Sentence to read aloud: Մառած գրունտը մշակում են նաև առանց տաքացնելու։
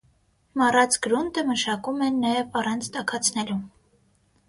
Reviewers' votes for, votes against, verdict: 3, 6, rejected